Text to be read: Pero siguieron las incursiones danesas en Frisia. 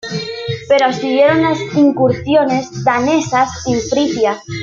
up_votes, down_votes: 2, 1